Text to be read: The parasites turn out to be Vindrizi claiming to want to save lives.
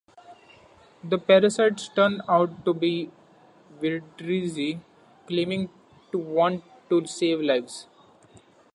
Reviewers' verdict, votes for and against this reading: accepted, 2, 1